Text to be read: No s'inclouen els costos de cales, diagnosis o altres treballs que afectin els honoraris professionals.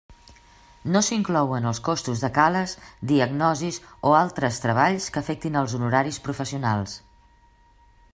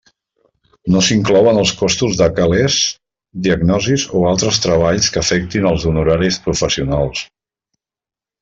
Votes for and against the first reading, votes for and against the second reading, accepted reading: 2, 0, 0, 2, first